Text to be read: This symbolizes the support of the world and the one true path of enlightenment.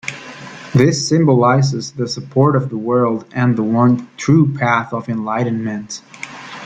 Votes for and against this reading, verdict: 2, 0, accepted